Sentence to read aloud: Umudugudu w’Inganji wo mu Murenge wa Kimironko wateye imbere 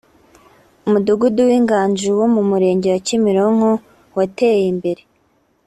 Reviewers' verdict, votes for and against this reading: accepted, 2, 0